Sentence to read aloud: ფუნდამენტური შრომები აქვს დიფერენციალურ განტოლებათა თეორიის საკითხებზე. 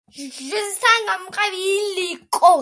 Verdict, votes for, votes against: rejected, 0, 2